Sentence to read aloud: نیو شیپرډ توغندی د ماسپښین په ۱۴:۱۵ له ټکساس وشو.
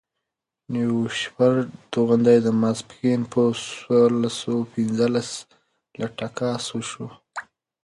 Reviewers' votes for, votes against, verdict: 0, 2, rejected